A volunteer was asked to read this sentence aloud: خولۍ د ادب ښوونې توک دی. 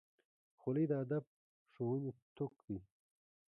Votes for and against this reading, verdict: 1, 2, rejected